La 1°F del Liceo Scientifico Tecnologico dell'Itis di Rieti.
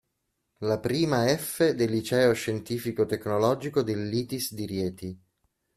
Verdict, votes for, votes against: rejected, 0, 2